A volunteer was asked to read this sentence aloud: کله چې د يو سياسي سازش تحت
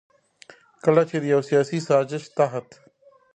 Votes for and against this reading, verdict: 2, 0, accepted